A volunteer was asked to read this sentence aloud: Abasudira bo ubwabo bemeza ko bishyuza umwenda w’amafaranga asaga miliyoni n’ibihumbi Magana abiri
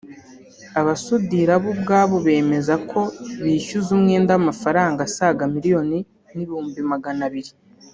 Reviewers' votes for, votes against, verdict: 1, 2, rejected